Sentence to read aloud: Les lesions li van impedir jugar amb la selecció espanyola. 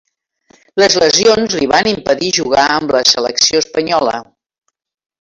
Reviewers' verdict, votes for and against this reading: rejected, 0, 2